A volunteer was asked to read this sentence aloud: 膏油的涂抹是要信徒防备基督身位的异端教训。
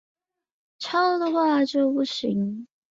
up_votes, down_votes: 3, 5